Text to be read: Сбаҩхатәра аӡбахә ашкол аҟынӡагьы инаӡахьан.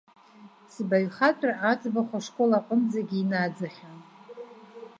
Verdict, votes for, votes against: rejected, 0, 2